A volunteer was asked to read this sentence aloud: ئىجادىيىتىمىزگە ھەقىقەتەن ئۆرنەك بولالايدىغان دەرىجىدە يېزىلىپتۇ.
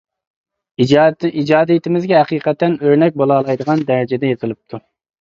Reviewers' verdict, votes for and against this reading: rejected, 0, 2